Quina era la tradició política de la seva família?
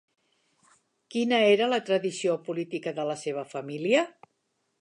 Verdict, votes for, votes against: accepted, 3, 0